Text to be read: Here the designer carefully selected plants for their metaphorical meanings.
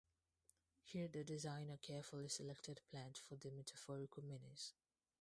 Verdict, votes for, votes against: rejected, 2, 2